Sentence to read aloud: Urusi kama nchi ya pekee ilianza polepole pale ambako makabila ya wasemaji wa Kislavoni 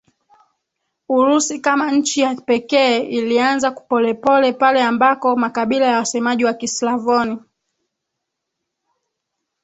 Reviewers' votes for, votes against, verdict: 2, 3, rejected